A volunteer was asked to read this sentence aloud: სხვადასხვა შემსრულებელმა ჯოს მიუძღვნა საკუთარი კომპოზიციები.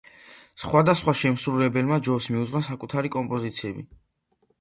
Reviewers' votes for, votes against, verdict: 2, 0, accepted